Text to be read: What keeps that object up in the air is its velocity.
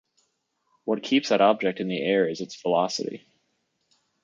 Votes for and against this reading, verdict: 0, 2, rejected